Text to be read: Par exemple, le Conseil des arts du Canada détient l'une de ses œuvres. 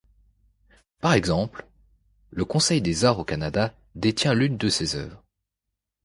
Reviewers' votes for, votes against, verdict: 2, 0, accepted